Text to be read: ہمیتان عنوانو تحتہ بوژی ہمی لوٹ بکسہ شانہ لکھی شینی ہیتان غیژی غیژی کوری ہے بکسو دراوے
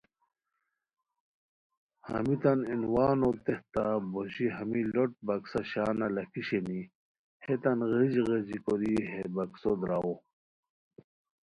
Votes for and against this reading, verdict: 2, 0, accepted